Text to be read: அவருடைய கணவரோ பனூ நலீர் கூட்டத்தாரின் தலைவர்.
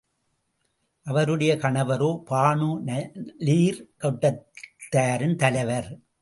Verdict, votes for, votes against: rejected, 0, 2